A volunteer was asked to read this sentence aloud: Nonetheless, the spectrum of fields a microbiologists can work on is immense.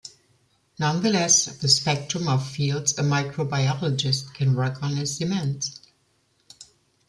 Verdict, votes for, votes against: rejected, 0, 2